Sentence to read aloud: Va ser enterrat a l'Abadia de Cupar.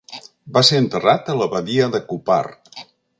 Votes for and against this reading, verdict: 2, 0, accepted